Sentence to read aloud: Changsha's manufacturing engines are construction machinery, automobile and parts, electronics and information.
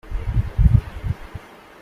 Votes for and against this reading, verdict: 0, 2, rejected